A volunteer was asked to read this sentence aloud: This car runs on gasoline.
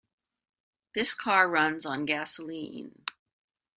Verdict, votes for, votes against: accepted, 2, 0